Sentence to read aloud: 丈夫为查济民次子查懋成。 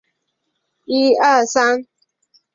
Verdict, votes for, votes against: rejected, 0, 2